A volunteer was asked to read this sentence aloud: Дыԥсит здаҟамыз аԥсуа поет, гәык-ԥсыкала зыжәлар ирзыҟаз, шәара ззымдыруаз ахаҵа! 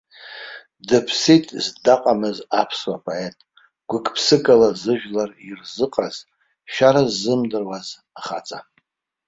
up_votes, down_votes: 2, 0